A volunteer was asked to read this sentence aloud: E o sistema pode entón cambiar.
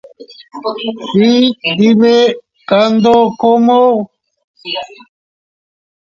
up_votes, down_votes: 0, 2